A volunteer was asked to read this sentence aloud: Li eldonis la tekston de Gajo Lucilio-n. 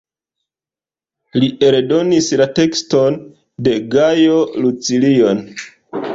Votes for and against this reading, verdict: 2, 0, accepted